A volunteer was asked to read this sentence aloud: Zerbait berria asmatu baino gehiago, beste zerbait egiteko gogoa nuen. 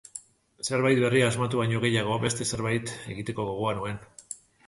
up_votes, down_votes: 2, 0